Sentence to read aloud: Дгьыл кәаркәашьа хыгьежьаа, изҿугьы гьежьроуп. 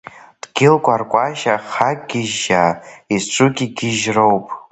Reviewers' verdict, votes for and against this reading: rejected, 0, 2